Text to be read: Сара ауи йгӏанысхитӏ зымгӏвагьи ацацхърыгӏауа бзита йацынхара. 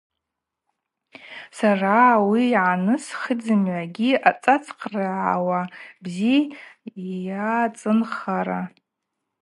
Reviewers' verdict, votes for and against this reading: rejected, 0, 2